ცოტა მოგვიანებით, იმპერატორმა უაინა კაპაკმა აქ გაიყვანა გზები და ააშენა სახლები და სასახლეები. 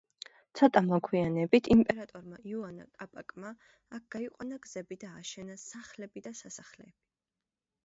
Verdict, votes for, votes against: rejected, 1, 2